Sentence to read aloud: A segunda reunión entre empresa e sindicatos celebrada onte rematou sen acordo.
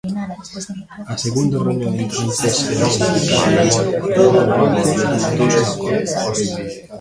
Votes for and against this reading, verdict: 0, 2, rejected